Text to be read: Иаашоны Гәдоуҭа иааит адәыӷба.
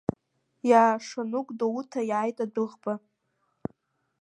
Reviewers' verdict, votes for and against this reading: accepted, 2, 0